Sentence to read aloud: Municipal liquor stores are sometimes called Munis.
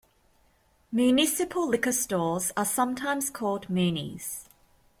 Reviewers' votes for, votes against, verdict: 3, 0, accepted